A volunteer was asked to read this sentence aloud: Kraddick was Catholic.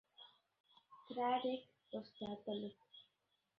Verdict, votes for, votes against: rejected, 0, 2